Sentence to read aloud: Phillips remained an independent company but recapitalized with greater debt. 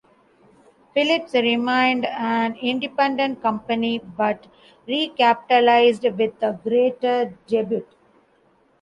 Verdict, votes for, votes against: rejected, 0, 2